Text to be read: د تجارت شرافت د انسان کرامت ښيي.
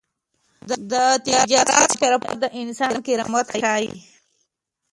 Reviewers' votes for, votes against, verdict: 0, 2, rejected